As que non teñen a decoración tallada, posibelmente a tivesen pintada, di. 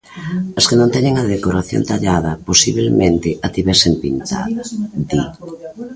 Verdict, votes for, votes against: rejected, 1, 2